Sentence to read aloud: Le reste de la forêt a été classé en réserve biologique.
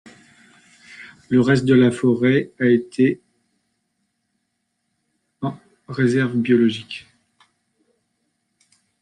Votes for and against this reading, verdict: 0, 2, rejected